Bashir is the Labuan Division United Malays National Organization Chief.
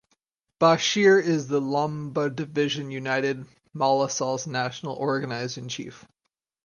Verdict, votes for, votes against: rejected, 2, 2